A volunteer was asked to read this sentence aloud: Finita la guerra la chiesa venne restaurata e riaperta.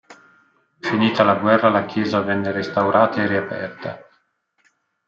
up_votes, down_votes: 1, 2